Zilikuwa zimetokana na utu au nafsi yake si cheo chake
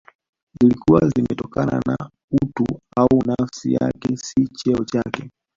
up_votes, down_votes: 2, 0